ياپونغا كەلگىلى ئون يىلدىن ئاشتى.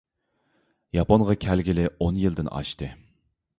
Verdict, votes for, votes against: accepted, 2, 0